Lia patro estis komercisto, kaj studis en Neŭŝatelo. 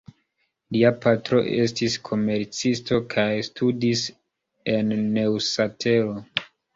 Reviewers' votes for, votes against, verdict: 1, 2, rejected